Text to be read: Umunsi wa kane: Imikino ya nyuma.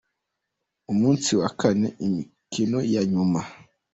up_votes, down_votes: 2, 1